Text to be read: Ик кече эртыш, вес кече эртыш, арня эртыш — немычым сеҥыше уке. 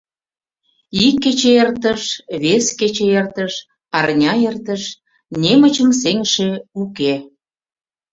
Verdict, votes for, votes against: accepted, 2, 0